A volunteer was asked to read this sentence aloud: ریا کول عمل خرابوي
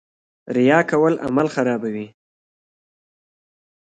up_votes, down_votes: 1, 2